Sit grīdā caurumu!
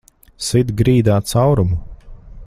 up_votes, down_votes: 2, 0